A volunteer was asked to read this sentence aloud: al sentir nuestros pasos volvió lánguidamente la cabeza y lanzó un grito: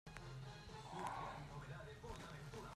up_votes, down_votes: 0, 2